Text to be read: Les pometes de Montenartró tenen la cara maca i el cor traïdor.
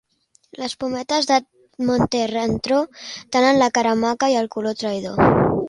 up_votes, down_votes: 2, 3